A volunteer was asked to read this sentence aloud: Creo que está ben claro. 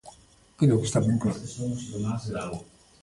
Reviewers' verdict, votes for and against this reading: rejected, 1, 2